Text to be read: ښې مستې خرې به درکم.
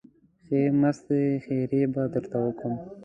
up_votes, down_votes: 0, 2